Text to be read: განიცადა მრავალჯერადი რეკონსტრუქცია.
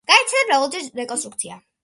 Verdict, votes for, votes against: accepted, 2, 1